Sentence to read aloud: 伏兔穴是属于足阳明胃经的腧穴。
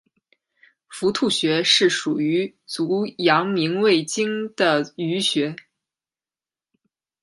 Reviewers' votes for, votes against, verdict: 2, 0, accepted